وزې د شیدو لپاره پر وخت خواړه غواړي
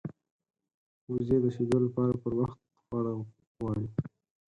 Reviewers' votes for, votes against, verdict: 4, 0, accepted